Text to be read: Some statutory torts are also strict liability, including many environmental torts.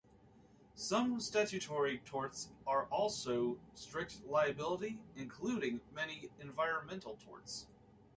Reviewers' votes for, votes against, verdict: 2, 0, accepted